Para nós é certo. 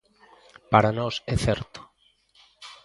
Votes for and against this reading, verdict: 2, 0, accepted